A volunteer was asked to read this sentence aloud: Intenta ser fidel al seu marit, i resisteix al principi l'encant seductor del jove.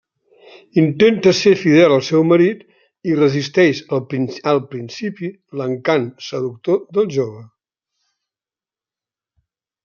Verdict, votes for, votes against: rejected, 1, 2